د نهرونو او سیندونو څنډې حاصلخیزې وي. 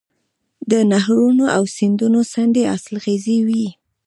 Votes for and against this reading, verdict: 1, 2, rejected